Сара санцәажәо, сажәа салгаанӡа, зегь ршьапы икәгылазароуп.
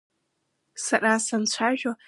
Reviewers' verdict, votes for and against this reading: rejected, 0, 2